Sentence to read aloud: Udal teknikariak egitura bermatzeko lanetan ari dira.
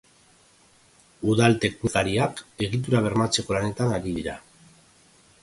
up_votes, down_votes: 1, 3